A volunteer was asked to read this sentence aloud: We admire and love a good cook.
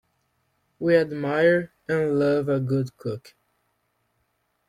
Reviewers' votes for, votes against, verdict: 2, 0, accepted